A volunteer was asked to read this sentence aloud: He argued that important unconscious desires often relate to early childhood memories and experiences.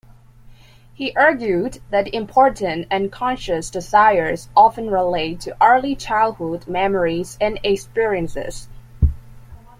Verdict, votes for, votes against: accepted, 2, 1